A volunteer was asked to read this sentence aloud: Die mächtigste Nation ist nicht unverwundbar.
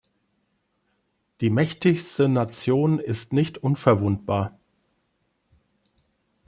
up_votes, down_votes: 3, 0